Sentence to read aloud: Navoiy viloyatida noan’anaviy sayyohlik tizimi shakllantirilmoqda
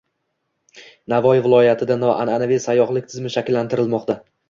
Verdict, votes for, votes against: rejected, 0, 2